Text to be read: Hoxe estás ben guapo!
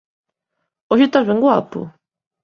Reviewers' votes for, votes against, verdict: 2, 0, accepted